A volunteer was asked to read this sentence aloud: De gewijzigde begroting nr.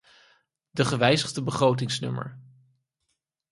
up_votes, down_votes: 0, 4